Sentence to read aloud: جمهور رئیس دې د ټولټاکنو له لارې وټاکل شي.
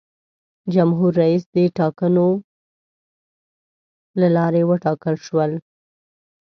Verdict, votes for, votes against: rejected, 0, 2